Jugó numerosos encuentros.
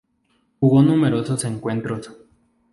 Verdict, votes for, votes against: accepted, 2, 0